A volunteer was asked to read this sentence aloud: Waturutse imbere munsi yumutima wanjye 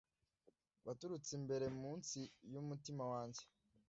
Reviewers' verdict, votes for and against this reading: accepted, 2, 0